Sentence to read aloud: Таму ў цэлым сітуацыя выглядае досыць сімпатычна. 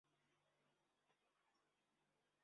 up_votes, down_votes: 1, 2